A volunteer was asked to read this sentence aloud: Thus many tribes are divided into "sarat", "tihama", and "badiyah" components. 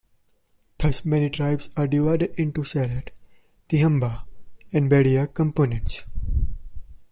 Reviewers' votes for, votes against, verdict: 1, 2, rejected